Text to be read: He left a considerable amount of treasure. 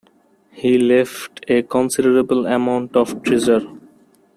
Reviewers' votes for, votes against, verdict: 1, 2, rejected